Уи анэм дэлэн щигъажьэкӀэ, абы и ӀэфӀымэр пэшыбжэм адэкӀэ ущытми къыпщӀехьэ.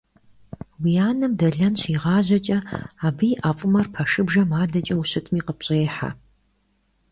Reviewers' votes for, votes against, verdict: 2, 0, accepted